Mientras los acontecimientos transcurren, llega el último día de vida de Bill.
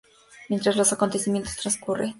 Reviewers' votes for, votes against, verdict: 0, 2, rejected